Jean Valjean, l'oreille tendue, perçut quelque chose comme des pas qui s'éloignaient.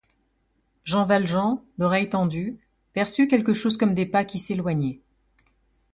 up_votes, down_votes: 2, 0